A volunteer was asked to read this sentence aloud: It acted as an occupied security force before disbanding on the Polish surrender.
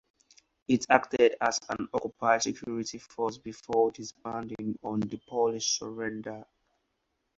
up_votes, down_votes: 4, 0